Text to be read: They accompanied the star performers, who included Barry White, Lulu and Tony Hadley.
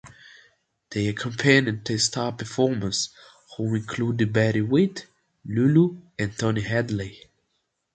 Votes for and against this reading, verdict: 0, 2, rejected